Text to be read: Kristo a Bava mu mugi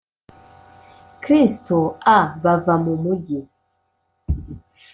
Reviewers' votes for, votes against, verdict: 2, 0, accepted